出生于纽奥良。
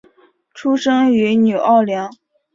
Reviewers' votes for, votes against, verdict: 1, 2, rejected